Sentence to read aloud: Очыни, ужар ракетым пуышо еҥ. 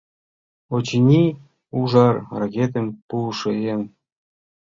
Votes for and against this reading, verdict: 2, 0, accepted